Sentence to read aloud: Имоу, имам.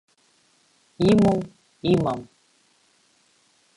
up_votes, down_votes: 2, 0